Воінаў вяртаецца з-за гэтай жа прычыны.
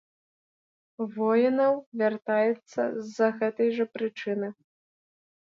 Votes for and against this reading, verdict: 2, 0, accepted